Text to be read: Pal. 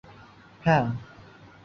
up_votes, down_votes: 0, 2